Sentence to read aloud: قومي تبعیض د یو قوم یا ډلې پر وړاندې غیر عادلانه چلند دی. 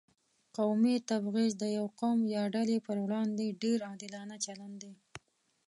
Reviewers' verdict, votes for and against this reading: rejected, 0, 2